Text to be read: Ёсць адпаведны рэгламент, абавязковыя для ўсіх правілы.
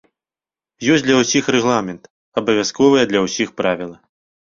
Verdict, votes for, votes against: rejected, 0, 2